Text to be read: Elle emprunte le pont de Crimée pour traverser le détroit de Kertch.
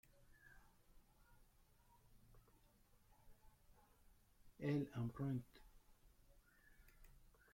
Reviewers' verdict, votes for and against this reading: rejected, 0, 2